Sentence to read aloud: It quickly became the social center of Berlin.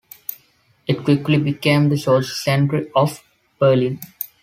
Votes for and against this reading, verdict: 2, 1, accepted